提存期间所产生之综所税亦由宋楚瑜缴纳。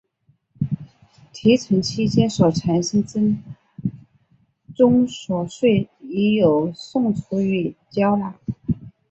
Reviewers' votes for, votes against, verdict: 0, 2, rejected